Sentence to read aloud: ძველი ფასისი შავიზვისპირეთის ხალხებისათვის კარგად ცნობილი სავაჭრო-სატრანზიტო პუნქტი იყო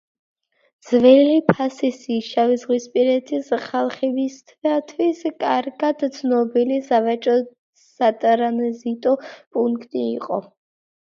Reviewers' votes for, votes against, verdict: 3, 2, accepted